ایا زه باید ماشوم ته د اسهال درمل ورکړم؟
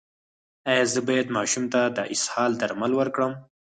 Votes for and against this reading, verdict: 4, 0, accepted